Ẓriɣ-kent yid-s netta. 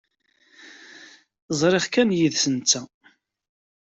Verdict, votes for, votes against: rejected, 1, 2